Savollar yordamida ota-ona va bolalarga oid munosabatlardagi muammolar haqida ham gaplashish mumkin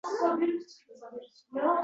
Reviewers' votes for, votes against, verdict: 0, 2, rejected